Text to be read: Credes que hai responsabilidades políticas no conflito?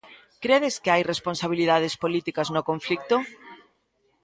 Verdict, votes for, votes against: rejected, 0, 2